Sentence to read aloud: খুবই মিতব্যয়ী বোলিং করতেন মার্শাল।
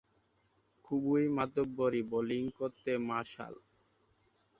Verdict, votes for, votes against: rejected, 0, 2